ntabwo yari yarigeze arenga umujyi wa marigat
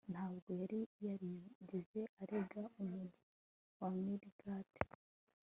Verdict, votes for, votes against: accepted, 2, 0